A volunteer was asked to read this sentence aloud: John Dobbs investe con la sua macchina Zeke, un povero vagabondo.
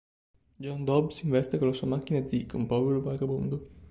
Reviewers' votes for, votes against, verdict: 1, 2, rejected